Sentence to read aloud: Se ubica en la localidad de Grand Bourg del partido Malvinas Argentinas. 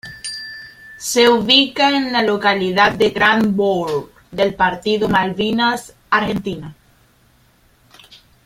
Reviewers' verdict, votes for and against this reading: rejected, 1, 2